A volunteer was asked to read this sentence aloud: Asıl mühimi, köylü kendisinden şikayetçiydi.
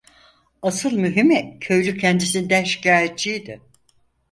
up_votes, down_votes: 4, 0